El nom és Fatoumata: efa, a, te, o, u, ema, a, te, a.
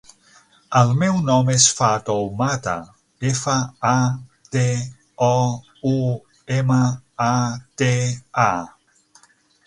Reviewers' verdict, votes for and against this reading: rejected, 0, 6